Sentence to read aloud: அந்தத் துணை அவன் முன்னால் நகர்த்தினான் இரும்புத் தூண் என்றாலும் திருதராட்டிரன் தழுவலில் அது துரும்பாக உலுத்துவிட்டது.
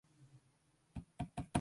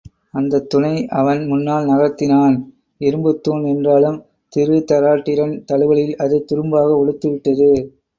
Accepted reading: second